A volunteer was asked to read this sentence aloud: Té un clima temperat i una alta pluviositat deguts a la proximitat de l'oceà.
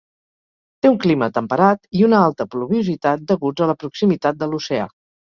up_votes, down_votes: 4, 0